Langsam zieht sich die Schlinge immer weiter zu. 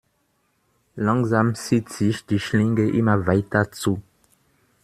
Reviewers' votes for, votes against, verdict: 2, 0, accepted